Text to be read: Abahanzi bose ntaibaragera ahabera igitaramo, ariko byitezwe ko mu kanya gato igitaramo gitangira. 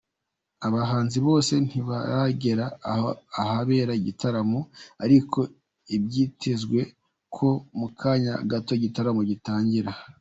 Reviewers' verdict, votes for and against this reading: rejected, 0, 2